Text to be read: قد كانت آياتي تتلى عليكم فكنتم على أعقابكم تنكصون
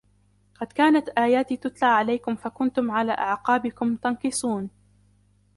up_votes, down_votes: 2, 1